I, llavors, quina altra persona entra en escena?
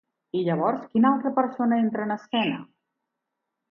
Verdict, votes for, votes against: rejected, 2, 2